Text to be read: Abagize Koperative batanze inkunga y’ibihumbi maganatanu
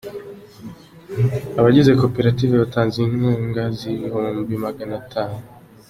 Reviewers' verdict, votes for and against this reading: accepted, 3, 1